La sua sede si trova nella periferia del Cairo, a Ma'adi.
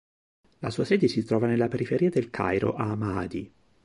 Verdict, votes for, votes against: accepted, 2, 0